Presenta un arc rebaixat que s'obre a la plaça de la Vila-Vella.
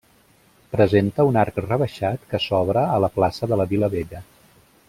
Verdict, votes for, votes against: accepted, 2, 0